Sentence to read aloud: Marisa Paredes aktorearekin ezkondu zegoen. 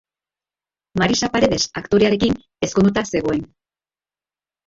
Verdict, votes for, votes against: accepted, 2, 1